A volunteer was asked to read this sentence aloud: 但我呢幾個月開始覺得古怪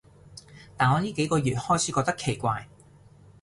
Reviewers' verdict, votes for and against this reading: rejected, 1, 2